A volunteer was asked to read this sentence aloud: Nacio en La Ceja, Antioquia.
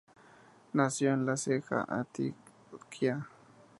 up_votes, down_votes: 2, 0